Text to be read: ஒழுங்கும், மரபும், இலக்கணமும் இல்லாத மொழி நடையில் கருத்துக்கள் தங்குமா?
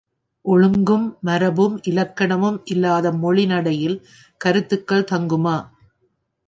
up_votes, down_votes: 2, 1